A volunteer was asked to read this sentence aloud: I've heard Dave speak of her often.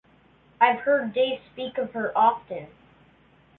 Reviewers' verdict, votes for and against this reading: accepted, 2, 0